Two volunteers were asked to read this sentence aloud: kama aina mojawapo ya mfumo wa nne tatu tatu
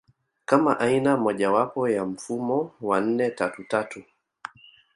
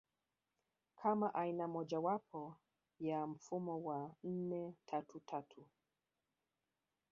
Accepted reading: first